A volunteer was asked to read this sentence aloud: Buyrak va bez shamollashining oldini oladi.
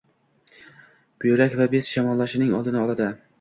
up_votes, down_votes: 2, 0